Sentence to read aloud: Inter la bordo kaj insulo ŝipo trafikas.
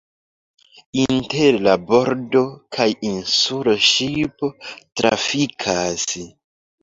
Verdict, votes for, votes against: rejected, 0, 2